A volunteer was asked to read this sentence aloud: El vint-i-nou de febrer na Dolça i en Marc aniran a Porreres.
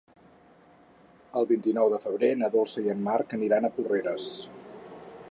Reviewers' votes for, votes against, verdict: 4, 0, accepted